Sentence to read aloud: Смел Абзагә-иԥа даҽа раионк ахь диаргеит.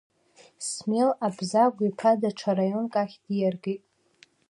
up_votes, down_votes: 1, 2